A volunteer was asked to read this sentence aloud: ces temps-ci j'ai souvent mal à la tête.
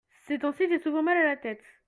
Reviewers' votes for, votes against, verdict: 2, 0, accepted